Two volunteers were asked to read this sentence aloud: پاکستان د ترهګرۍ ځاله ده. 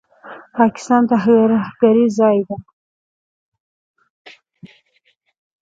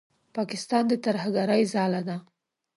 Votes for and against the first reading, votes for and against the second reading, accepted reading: 1, 2, 2, 0, second